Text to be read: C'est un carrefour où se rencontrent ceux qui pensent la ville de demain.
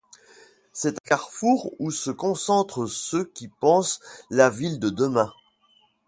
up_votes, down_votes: 2, 0